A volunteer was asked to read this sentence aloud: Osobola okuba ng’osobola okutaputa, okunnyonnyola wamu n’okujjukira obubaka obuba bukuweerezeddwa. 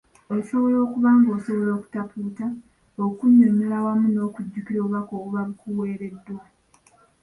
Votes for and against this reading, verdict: 1, 2, rejected